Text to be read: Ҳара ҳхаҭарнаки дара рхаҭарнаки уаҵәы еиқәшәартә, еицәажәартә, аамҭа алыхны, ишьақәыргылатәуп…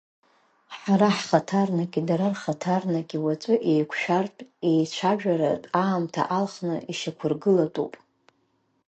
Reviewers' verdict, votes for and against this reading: rejected, 1, 2